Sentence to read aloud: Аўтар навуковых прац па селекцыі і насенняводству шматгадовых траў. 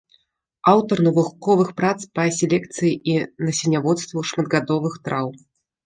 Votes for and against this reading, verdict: 1, 2, rejected